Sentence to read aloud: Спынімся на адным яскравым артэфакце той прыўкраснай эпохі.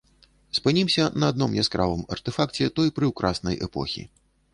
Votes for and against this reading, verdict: 0, 2, rejected